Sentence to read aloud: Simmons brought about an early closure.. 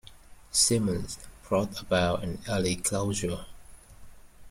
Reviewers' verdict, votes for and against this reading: rejected, 1, 2